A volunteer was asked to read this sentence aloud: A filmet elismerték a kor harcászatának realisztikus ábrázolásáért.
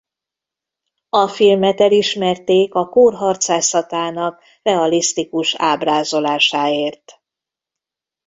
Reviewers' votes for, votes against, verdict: 1, 2, rejected